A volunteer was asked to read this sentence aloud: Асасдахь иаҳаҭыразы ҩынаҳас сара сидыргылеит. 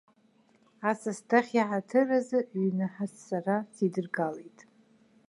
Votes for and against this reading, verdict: 1, 2, rejected